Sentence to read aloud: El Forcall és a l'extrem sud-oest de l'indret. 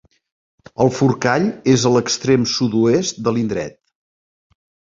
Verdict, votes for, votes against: accepted, 3, 0